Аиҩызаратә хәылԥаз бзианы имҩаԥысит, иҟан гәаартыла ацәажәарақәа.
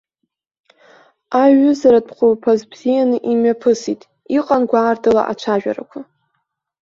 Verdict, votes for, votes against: accepted, 2, 1